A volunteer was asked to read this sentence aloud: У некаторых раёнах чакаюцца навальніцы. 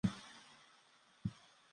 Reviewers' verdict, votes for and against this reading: rejected, 0, 2